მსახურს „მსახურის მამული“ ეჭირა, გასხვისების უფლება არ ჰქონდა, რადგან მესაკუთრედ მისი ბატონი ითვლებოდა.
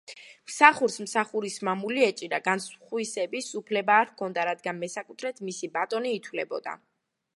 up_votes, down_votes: 1, 2